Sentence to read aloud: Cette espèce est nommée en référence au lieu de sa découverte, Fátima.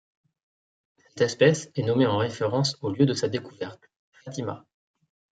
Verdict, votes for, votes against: rejected, 1, 2